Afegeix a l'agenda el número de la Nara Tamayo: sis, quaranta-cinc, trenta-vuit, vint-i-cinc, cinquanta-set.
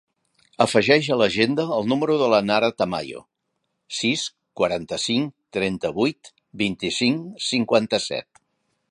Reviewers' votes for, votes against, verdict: 3, 0, accepted